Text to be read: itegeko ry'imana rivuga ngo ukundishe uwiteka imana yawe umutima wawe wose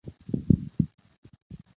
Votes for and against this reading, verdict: 0, 2, rejected